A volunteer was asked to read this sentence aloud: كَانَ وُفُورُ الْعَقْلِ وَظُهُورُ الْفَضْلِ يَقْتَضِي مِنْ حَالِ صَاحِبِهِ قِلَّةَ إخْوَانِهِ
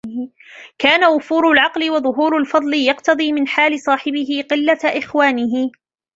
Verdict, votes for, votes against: accepted, 2, 1